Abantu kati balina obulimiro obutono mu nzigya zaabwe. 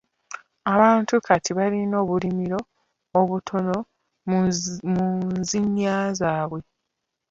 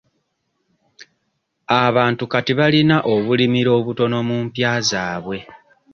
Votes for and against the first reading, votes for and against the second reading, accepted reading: 0, 2, 2, 0, second